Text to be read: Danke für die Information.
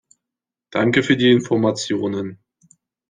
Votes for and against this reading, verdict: 0, 2, rejected